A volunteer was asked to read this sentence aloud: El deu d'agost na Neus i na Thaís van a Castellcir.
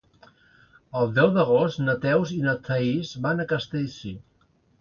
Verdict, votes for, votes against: rejected, 1, 2